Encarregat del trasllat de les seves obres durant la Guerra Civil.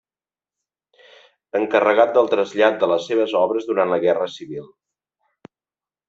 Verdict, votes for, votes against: accepted, 3, 0